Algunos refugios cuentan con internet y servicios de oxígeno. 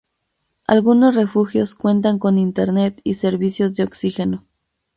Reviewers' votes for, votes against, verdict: 0, 2, rejected